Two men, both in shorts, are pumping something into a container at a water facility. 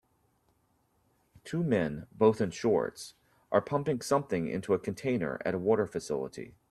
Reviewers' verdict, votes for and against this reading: accepted, 2, 0